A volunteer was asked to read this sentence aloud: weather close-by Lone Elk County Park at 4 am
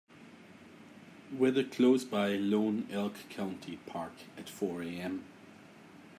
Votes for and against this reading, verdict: 0, 2, rejected